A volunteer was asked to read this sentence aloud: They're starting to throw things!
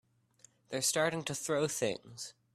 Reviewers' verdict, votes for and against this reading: accepted, 2, 0